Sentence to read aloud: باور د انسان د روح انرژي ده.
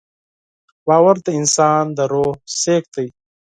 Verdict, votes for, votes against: rejected, 2, 4